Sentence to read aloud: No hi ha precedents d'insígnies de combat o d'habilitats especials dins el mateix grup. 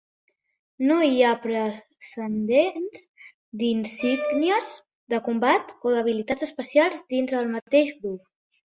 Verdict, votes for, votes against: rejected, 0, 2